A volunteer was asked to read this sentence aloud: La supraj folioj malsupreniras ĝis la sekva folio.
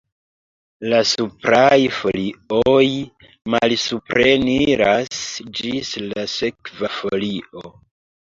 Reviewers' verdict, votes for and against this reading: rejected, 0, 2